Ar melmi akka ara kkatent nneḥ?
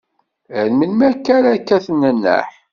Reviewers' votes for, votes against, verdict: 1, 2, rejected